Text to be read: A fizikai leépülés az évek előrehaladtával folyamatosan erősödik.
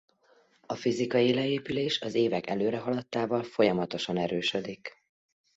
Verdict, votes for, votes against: accepted, 2, 0